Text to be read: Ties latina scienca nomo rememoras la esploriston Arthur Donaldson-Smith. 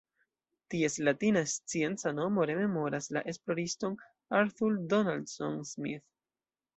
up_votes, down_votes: 0, 2